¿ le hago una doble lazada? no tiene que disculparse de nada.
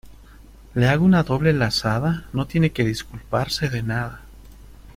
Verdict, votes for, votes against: accepted, 2, 0